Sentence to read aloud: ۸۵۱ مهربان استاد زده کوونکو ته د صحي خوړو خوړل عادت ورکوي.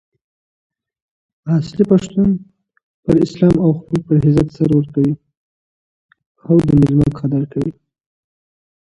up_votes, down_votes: 0, 2